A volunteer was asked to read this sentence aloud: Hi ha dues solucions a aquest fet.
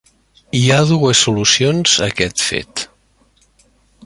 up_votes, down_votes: 3, 0